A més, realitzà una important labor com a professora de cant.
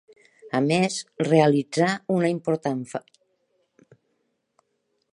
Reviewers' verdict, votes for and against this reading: rejected, 0, 2